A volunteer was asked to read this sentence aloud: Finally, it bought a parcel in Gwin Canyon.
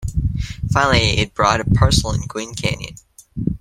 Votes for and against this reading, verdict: 2, 1, accepted